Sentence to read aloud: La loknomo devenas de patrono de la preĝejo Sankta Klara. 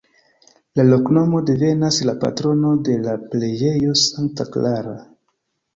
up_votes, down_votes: 2, 0